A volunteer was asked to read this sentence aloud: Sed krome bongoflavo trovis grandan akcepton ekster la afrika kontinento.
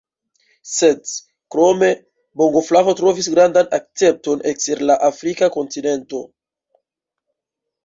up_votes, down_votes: 2, 0